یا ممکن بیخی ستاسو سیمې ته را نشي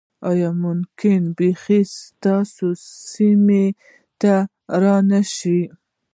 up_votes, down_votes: 0, 2